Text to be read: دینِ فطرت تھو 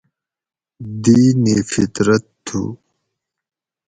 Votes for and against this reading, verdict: 4, 0, accepted